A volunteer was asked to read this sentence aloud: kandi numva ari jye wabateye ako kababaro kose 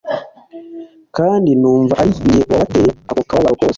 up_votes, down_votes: 2, 1